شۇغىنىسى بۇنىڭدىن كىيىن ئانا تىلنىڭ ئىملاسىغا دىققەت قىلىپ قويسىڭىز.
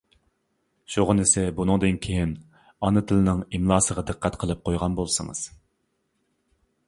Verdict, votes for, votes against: rejected, 0, 2